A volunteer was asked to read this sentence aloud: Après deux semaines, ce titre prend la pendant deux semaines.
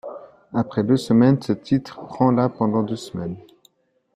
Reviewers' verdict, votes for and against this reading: accepted, 2, 0